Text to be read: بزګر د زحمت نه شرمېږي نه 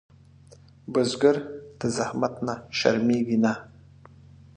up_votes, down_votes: 2, 0